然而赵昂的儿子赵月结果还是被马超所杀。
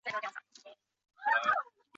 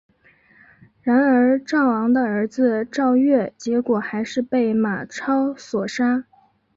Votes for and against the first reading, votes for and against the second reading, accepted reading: 0, 2, 3, 0, second